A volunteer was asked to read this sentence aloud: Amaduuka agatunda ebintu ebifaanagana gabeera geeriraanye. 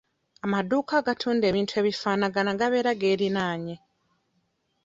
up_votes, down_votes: 0, 2